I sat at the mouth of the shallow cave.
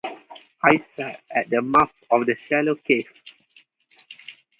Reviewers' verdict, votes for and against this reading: accepted, 2, 0